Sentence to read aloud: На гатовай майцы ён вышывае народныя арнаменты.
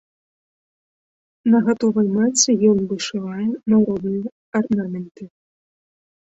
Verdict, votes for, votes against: rejected, 1, 2